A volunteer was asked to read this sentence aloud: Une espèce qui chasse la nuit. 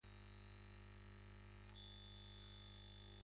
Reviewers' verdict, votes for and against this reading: rejected, 0, 2